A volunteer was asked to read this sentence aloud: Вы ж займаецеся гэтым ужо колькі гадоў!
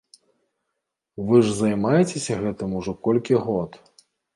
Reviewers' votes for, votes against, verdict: 1, 2, rejected